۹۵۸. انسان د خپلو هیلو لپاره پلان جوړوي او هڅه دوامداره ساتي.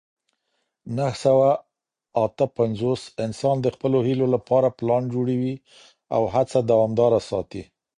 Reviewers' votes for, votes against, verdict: 0, 2, rejected